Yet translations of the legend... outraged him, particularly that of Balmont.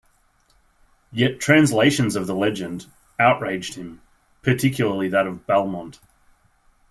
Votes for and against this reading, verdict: 2, 0, accepted